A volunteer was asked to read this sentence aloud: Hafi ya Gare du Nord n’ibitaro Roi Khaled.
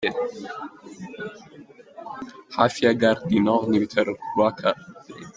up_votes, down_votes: 1, 2